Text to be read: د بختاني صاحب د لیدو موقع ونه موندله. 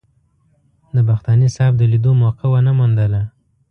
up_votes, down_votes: 2, 0